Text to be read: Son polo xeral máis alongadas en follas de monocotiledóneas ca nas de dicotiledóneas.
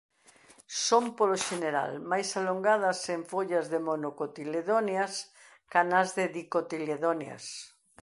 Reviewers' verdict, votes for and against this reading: rejected, 0, 2